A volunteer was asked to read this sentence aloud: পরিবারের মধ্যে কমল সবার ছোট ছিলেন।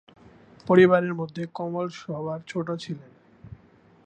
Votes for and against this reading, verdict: 0, 2, rejected